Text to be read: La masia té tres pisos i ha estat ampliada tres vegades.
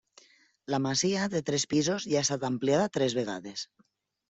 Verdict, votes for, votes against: rejected, 0, 2